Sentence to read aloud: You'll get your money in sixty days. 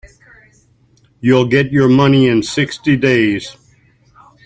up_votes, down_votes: 2, 0